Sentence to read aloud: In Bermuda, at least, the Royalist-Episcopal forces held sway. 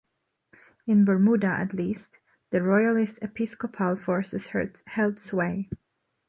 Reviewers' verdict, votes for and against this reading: rejected, 1, 2